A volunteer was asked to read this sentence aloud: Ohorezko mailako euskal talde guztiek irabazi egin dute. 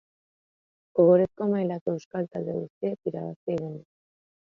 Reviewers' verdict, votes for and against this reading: rejected, 0, 2